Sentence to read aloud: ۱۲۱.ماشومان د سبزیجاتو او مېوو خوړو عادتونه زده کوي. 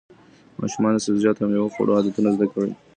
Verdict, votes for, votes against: rejected, 0, 2